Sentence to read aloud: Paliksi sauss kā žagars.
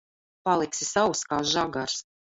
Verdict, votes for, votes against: rejected, 1, 2